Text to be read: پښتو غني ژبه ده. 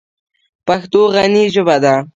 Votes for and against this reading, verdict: 2, 0, accepted